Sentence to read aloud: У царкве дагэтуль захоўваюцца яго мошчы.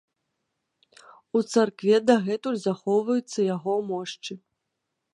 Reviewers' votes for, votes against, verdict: 2, 0, accepted